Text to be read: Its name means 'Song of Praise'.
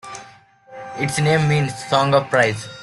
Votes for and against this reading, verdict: 2, 0, accepted